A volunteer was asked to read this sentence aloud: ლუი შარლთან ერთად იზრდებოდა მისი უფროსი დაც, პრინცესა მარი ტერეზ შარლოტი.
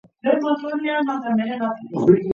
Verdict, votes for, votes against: rejected, 0, 2